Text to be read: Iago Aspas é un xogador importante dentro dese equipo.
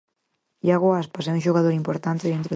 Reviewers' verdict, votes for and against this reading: rejected, 0, 4